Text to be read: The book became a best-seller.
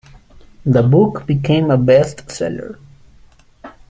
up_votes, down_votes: 2, 0